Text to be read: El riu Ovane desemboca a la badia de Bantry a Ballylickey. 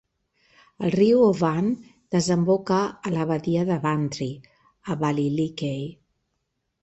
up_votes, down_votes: 2, 0